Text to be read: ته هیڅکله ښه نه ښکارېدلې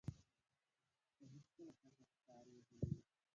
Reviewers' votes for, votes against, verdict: 0, 2, rejected